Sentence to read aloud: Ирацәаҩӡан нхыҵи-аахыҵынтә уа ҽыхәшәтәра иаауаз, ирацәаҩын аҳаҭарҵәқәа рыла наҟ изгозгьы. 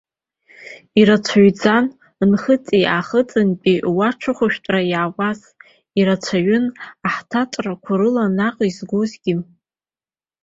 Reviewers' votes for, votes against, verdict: 0, 2, rejected